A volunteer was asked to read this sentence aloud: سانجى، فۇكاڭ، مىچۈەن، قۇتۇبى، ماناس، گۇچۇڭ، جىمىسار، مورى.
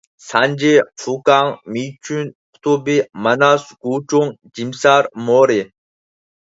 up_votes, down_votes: 0, 4